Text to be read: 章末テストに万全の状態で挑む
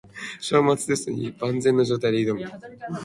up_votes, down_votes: 3, 0